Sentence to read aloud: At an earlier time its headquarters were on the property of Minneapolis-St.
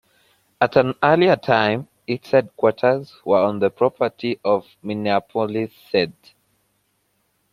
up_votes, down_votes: 2, 0